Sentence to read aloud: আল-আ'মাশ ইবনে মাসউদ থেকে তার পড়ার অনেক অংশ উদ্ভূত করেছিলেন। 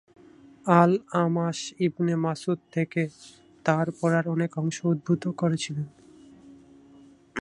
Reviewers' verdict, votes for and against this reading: accepted, 6, 0